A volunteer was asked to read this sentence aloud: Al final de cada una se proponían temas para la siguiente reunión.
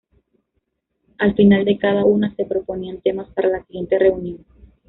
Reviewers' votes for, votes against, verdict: 2, 1, accepted